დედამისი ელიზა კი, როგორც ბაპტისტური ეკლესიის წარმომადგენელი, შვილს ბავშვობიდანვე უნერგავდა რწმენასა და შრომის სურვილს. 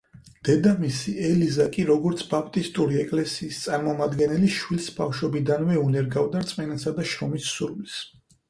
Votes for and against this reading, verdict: 4, 0, accepted